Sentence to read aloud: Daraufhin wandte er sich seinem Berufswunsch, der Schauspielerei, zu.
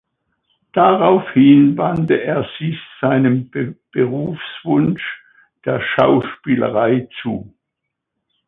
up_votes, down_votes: 0, 2